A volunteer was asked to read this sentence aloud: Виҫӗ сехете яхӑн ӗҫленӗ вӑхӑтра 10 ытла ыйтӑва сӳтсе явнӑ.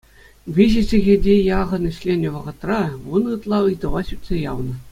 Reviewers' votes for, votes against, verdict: 0, 2, rejected